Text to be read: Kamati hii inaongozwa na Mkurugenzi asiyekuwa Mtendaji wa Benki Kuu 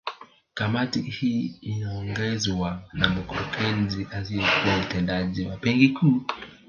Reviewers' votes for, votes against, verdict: 0, 2, rejected